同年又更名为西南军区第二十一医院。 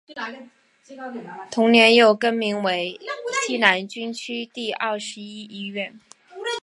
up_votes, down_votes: 2, 0